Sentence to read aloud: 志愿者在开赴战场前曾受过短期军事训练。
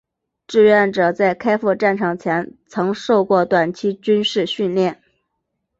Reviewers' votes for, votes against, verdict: 3, 0, accepted